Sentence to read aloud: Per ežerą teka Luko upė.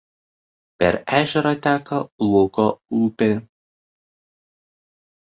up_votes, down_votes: 2, 1